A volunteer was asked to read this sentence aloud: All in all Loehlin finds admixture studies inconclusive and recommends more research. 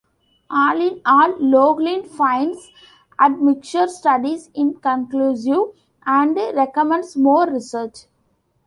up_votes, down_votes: 2, 1